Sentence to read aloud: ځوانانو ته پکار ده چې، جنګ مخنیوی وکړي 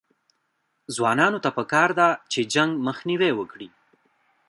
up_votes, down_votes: 2, 1